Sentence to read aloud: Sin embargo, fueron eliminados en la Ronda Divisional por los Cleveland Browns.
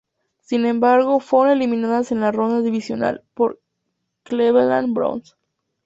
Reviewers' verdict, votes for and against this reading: accepted, 2, 0